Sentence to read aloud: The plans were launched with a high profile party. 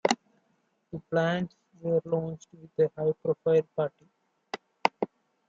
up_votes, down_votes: 1, 2